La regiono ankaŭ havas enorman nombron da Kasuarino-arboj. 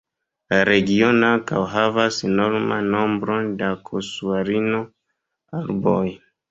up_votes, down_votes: 1, 2